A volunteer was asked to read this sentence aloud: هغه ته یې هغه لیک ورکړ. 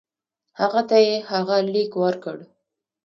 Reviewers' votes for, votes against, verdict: 2, 0, accepted